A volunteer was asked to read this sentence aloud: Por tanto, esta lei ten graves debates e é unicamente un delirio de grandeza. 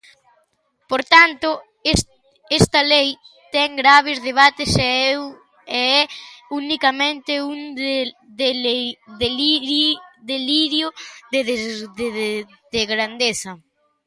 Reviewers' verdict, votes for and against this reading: rejected, 0, 3